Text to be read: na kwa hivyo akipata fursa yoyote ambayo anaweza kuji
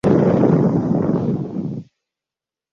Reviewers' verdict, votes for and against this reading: rejected, 0, 2